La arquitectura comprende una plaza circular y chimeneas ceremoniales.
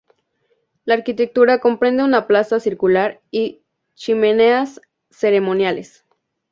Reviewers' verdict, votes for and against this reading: accepted, 2, 0